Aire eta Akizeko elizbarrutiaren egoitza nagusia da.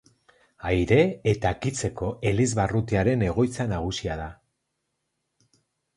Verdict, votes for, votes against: accepted, 4, 2